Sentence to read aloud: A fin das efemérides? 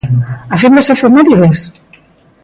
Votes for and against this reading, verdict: 2, 0, accepted